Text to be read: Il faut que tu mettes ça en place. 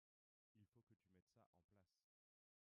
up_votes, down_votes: 0, 2